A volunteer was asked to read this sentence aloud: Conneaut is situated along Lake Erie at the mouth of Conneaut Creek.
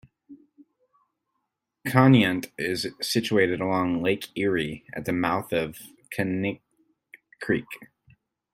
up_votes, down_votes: 0, 2